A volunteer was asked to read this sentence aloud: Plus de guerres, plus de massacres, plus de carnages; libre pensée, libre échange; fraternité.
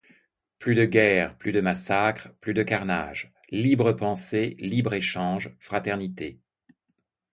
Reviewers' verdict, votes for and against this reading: accepted, 2, 0